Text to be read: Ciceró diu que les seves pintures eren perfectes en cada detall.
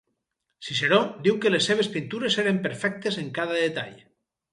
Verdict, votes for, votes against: accepted, 4, 0